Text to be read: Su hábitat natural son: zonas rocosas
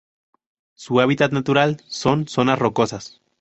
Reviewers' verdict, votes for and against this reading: accepted, 2, 0